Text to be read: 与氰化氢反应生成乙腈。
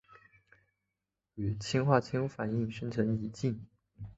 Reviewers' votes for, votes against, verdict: 5, 3, accepted